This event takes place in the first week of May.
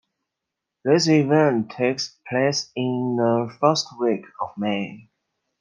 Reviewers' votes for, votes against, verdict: 2, 0, accepted